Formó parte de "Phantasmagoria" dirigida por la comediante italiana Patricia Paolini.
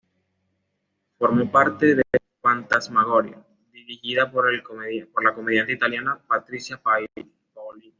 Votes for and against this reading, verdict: 2, 0, accepted